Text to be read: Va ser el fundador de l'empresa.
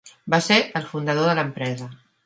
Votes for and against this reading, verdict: 3, 0, accepted